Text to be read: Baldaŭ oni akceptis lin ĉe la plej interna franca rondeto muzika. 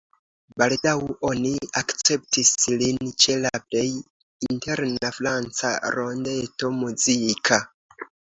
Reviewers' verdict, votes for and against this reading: accepted, 2, 1